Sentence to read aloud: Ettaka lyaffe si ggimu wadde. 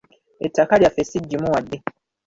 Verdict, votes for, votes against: accepted, 2, 0